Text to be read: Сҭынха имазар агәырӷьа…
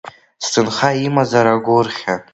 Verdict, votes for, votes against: accepted, 2, 1